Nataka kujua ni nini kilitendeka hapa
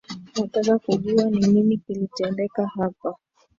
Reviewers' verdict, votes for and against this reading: accepted, 2, 1